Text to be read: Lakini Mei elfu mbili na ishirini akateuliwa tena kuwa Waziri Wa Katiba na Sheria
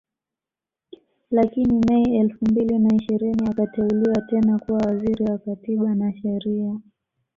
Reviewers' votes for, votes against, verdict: 0, 2, rejected